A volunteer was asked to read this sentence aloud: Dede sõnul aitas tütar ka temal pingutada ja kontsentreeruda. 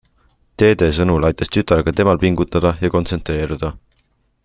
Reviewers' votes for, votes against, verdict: 2, 0, accepted